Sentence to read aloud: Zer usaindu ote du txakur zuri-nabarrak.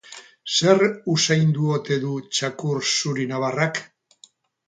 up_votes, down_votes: 2, 2